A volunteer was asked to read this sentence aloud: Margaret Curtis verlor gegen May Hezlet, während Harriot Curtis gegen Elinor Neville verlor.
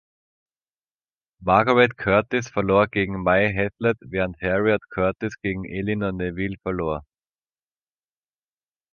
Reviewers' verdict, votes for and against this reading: rejected, 0, 2